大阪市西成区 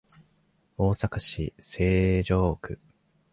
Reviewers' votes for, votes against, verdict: 1, 4, rejected